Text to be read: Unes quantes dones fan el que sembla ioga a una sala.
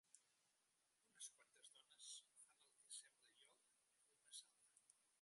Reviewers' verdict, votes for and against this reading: rejected, 0, 2